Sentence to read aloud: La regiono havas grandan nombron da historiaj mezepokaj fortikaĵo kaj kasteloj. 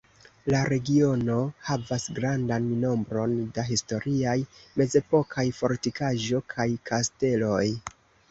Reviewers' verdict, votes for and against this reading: accepted, 2, 0